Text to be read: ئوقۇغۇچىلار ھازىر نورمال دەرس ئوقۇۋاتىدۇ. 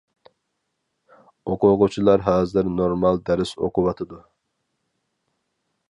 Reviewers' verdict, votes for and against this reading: accepted, 4, 0